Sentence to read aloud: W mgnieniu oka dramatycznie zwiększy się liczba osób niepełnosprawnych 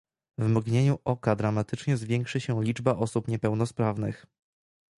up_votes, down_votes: 2, 1